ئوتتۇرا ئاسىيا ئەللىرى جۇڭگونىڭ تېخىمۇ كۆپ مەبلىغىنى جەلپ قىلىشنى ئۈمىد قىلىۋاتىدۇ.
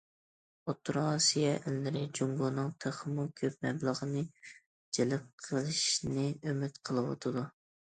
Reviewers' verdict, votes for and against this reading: accepted, 2, 0